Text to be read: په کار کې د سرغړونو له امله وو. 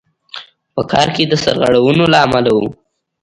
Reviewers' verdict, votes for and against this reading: accepted, 2, 0